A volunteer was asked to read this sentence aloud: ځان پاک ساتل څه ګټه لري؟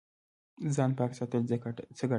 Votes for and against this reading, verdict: 2, 0, accepted